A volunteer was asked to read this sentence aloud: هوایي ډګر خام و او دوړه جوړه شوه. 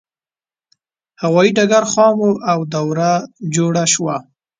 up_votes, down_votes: 1, 2